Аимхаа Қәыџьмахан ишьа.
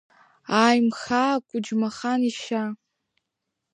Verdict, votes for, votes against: accepted, 2, 1